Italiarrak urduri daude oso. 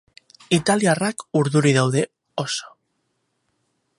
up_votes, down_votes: 4, 0